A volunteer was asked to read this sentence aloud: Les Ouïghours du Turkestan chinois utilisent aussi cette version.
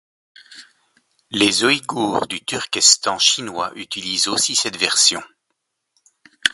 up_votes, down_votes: 0, 2